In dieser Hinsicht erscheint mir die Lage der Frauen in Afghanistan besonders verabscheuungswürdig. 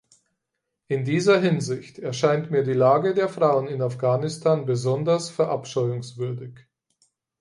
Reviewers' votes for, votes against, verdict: 4, 0, accepted